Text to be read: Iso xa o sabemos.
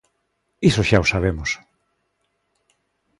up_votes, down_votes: 2, 0